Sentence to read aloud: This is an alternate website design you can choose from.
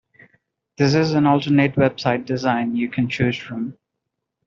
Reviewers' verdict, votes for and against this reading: accepted, 2, 0